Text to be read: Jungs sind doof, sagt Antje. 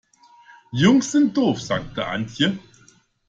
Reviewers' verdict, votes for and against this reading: rejected, 1, 2